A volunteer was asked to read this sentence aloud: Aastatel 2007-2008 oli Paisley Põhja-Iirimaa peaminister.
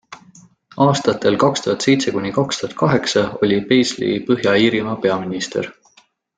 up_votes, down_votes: 0, 2